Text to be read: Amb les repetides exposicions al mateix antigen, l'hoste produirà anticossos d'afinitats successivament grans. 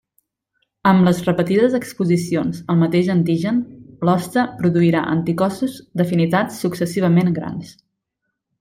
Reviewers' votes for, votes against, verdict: 2, 0, accepted